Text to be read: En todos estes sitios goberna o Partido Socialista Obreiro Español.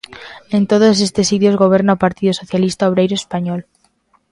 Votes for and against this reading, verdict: 2, 0, accepted